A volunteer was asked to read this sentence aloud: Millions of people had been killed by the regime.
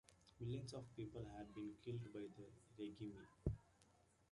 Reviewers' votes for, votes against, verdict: 0, 2, rejected